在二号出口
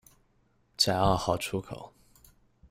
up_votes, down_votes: 2, 0